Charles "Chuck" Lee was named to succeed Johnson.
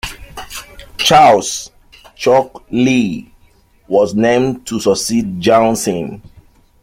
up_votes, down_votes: 0, 2